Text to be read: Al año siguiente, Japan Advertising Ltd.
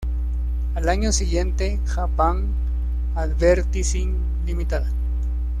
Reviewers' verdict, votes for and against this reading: accepted, 2, 0